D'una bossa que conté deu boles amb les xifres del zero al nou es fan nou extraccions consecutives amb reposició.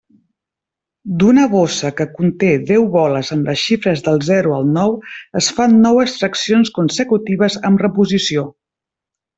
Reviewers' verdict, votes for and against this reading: accepted, 2, 0